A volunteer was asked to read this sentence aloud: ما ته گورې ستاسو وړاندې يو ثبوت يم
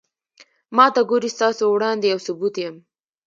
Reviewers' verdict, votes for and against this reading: rejected, 0, 2